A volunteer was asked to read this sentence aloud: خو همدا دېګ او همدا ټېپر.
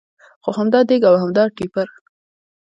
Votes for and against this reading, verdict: 2, 1, accepted